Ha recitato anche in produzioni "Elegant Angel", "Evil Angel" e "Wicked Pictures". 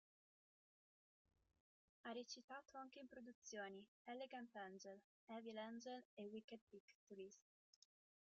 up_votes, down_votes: 1, 2